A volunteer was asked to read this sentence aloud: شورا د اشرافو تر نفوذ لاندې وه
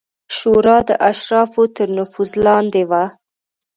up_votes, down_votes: 2, 0